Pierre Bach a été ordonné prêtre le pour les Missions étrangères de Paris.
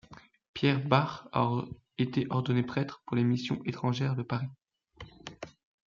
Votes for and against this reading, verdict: 1, 2, rejected